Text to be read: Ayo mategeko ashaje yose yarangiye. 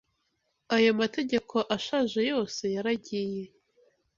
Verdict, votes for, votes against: rejected, 0, 2